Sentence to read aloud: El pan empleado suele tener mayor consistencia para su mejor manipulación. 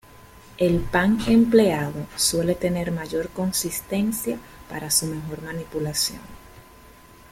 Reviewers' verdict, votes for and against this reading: accepted, 2, 0